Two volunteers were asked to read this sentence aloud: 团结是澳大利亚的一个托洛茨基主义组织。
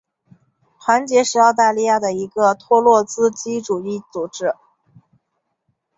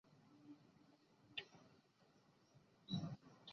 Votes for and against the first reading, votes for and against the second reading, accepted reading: 2, 0, 0, 2, first